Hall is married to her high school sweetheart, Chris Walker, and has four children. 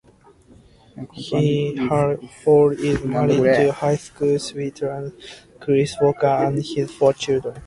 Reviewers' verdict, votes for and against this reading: rejected, 0, 2